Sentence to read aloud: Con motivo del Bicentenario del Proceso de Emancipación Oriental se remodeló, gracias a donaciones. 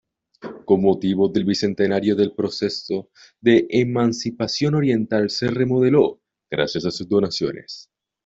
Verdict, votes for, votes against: rejected, 0, 2